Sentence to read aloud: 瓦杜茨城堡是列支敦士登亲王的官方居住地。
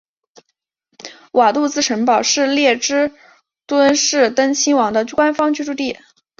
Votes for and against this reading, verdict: 2, 0, accepted